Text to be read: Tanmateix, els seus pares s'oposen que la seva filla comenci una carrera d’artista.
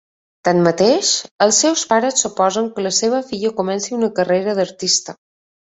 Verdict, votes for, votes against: accepted, 5, 0